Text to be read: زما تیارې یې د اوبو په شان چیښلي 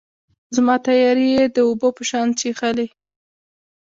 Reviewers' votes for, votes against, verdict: 2, 1, accepted